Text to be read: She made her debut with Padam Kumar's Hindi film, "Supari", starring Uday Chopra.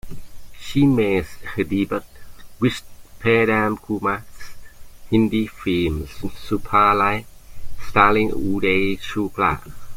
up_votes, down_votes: 0, 2